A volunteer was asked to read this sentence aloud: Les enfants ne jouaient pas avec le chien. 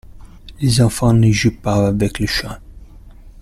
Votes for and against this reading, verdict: 0, 2, rejected